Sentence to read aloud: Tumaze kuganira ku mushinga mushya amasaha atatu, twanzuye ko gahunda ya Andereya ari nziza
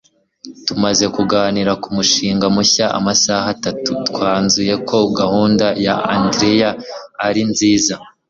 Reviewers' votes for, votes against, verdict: 2, 0, accepted